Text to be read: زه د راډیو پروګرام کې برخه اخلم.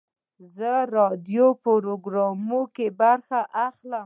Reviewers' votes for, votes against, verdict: 1, 2, rejected